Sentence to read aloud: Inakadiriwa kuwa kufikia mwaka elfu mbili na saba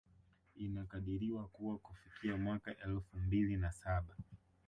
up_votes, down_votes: 2, 1